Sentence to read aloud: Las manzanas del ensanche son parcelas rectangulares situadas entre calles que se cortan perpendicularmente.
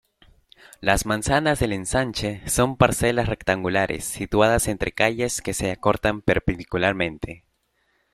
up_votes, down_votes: 1, 2